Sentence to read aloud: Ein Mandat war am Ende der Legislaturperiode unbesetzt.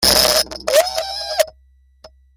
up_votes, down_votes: 1, 2